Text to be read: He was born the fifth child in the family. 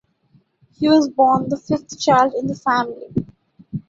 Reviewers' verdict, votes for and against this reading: accepted, 2, 1